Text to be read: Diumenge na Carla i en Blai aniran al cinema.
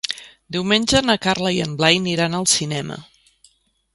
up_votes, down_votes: 3, 1